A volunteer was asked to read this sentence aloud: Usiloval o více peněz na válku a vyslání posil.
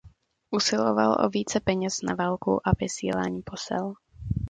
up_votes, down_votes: 0, 2